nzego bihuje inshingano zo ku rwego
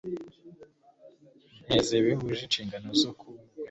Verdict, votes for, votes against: rejected, 1, 2